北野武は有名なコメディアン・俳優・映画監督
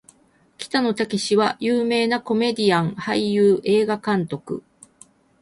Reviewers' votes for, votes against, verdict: 4, 0, accepted